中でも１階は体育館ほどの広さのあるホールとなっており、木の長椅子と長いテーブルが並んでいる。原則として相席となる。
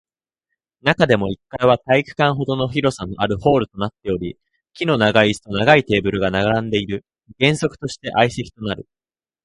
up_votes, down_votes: 0, 2